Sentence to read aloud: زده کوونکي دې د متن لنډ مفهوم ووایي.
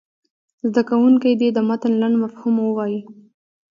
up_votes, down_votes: 2, 1